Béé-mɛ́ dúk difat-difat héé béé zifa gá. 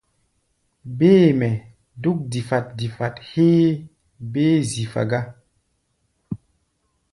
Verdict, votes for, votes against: rejected, 1, 2